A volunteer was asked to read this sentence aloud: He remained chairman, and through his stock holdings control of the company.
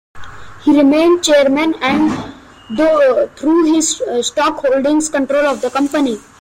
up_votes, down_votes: 1, 2